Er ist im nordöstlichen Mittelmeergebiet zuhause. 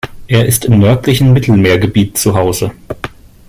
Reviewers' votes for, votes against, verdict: 0, 2, rejected